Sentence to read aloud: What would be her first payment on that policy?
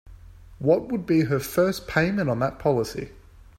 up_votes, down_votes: 4, 0